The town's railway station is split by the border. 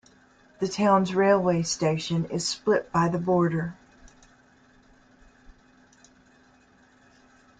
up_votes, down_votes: 2, 0